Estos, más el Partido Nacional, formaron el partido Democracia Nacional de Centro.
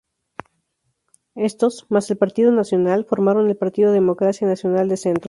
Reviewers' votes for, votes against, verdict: 6, 0, accepted